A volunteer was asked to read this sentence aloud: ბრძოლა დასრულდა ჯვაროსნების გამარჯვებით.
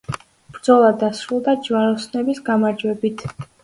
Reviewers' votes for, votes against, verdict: 2, 0, accepted